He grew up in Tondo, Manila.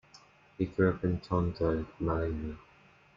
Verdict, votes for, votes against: accepted, 2, 1